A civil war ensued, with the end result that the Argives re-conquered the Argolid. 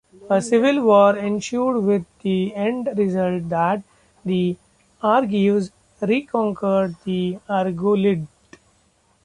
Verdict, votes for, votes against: accepted, 2, 0